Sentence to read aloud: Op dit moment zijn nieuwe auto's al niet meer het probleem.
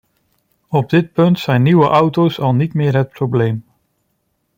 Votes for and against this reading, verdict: 0, 2, rejected